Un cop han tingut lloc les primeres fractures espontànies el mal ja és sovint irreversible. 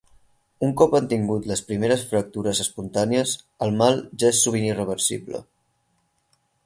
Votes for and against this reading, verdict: 2, 4, rejected